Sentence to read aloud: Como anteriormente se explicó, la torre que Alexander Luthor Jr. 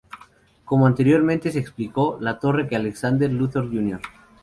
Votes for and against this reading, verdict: 2, 0, accepted